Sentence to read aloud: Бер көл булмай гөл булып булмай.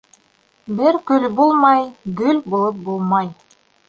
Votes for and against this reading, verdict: 1, 2, rejected